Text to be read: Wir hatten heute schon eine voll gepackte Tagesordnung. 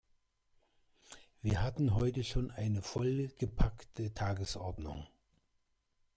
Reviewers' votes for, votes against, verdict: 0, 2, rejected